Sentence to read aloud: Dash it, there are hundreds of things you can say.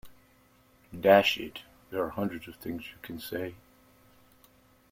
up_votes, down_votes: 0, 2